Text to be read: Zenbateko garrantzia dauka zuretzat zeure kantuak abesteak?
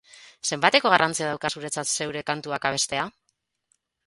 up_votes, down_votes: 2, 2